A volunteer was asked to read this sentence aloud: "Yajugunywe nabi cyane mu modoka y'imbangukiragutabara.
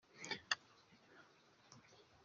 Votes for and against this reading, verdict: 0, 2, rejected